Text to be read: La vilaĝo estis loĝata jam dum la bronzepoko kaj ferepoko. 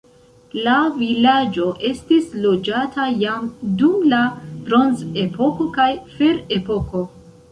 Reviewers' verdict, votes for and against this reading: rejected, 1, 2